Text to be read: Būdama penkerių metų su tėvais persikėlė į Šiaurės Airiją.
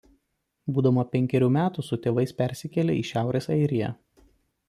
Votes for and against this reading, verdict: 2, 0, accepted